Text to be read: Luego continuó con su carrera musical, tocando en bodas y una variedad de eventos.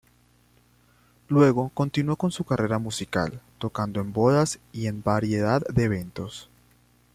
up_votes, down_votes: 0, 2